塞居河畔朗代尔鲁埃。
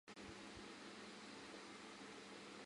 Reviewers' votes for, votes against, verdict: 0, 2, rejected